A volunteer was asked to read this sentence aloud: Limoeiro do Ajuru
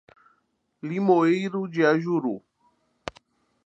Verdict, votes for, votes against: rejected, 0, 2